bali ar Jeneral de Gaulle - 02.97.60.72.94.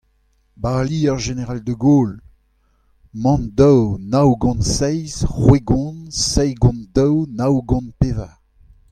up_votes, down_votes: 0, 2